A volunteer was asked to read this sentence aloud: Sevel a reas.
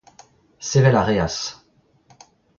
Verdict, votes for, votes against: accepted, 2, 0